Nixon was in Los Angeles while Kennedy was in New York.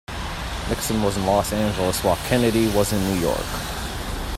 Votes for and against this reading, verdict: 2, 0, accepted